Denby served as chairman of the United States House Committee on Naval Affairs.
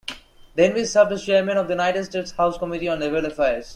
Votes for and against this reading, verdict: 0, 2, rejected